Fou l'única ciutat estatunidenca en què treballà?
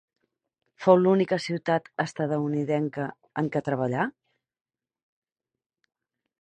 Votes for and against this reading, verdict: 0, 2, rejected